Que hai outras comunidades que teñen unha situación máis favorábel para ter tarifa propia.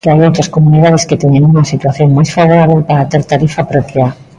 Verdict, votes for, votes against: accepted, 2, 1